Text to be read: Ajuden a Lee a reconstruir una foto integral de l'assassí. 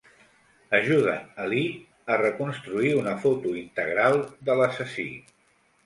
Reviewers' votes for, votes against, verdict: 2, 0, accepted